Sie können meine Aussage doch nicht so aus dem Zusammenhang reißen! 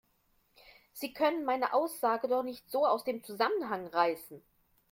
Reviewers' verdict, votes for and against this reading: accepted, 2, 0